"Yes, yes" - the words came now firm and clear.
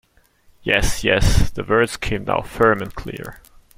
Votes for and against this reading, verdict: 2, 0, accepted